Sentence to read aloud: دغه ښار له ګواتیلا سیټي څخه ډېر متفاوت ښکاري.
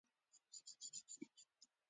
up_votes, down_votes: 0, 2